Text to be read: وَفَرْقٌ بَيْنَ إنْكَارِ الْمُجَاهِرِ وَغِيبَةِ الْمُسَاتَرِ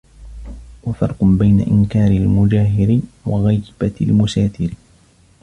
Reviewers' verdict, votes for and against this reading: rejected, 1, 2